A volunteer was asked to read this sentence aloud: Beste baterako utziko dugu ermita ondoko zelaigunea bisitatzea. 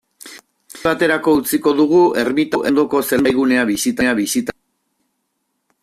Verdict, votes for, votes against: rejected, 0, 2